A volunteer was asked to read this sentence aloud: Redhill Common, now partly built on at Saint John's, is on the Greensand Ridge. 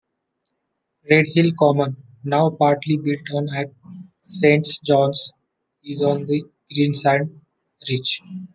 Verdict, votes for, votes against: rejected, 1, 2